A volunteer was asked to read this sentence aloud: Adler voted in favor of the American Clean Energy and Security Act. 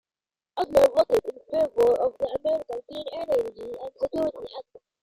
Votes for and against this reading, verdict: 0, 2, rejected